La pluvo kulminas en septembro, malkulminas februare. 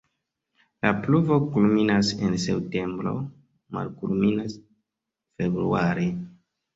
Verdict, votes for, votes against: accepted, 3, 2